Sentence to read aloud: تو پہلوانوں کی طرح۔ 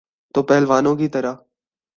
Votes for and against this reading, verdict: 2, 0, accepted